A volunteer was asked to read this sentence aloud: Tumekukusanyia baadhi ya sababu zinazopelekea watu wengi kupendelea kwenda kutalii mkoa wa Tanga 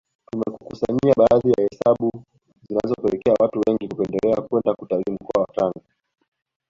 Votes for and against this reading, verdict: 1, 2, rejected